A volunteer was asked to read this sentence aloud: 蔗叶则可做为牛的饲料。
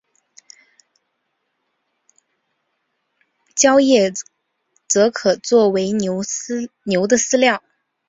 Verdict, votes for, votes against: rejected, 0, 4